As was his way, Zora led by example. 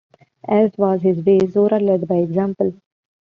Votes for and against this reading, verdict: 2, 1, accepted